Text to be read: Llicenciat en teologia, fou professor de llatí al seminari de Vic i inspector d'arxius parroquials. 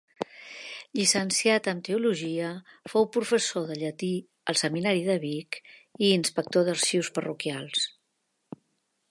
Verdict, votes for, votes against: accepted, 2, 0